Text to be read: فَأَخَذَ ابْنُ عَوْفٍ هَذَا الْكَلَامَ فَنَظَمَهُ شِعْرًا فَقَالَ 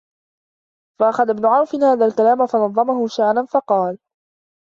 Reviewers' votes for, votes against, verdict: 2, 0, accepted